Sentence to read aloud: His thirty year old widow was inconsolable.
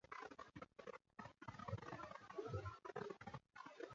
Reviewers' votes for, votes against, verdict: 0, 2, rejected